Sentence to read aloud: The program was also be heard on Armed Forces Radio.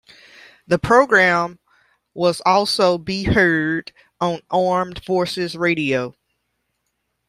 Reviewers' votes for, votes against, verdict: 1, 2, rejected